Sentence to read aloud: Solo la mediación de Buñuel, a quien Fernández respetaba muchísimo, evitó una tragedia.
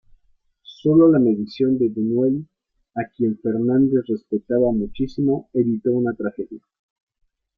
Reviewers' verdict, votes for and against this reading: rejected, 1, 2